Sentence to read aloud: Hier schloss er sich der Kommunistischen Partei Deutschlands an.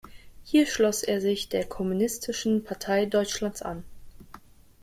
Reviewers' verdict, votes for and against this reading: rejected, 1, 2